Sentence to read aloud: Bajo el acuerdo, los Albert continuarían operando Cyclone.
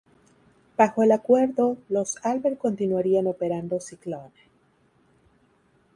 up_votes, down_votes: 2, 0